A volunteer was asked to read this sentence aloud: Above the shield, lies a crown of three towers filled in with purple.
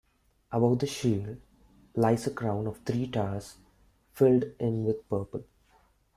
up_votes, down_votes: 3, 0